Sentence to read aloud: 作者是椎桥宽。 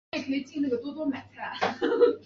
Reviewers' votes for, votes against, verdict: 1, 2, rejected